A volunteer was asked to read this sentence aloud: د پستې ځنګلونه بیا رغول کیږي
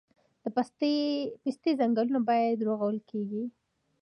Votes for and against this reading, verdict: 2, 0, accepted